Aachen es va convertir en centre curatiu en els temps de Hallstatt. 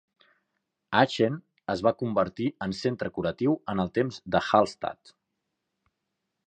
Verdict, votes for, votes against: accepted, 2, 1